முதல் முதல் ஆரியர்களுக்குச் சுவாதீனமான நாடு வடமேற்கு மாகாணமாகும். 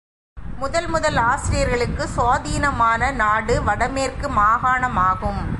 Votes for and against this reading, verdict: 2, 0, accepted